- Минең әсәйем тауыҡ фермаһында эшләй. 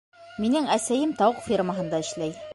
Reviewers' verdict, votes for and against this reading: rejected, 0, 2